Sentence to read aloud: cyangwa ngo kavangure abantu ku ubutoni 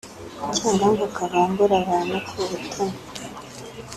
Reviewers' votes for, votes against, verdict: 2, 0, accepted